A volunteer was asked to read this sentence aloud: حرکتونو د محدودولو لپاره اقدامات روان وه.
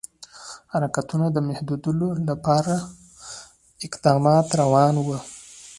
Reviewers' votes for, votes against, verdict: 2, 1, accepted